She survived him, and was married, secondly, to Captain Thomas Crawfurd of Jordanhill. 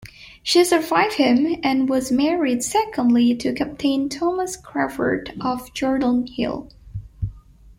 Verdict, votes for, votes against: accepted, 2, 1